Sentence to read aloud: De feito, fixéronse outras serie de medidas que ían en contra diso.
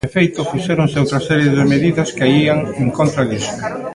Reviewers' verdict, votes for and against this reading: rejected, 1, 2